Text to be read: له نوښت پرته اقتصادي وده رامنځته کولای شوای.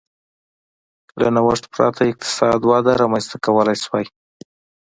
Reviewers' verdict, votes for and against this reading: accepted, 2, 0